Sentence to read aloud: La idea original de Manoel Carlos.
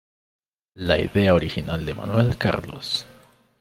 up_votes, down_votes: 2, 0